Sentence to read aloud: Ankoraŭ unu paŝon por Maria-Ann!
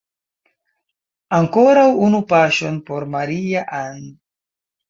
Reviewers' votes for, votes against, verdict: 2, 0, accepted